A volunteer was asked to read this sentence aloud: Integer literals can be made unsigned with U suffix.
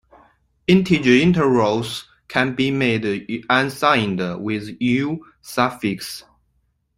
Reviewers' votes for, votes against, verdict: 2, 1, accepted